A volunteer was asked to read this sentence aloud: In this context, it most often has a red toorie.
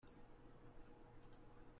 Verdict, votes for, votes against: rejected, 0, 2